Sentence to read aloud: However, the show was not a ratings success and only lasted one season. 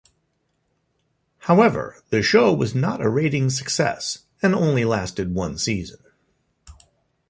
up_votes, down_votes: 2, 0